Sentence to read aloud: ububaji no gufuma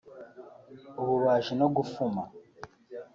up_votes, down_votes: 3, 0